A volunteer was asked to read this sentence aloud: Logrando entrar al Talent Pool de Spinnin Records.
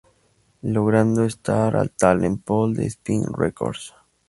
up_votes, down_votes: 2, 2